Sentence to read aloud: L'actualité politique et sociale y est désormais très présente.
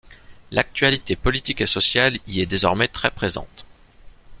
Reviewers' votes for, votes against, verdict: 2, 0, accepted